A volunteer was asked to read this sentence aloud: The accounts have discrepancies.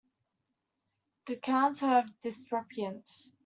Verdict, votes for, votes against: rejected, 1, 2